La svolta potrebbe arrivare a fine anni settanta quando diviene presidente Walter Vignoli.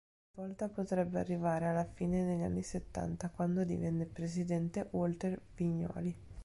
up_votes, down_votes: 0, 5